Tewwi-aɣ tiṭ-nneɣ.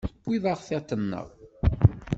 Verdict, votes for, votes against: accepted, 2, 0